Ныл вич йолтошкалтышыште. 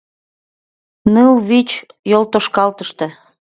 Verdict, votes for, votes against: rejected, 2, 3